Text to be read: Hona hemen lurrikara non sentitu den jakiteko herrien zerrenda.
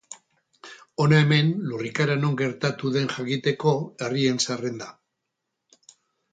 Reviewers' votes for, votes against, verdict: 0, 4, rejected